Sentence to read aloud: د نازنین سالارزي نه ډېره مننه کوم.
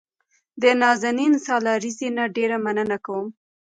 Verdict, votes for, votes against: rejected, 0, 2